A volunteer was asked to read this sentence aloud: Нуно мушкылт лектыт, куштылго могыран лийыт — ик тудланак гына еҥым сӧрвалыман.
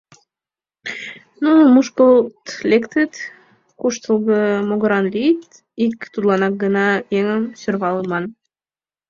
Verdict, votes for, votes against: accepted, 2, 0